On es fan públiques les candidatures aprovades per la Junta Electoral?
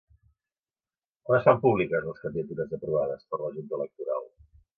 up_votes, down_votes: 2, 3